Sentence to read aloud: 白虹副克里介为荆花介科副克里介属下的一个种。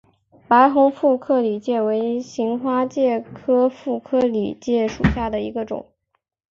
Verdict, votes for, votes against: accepted, 2, 0